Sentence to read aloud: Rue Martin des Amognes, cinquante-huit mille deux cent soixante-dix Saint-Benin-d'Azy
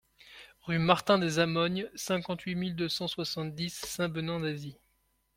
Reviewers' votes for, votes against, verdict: 2, 0, accepted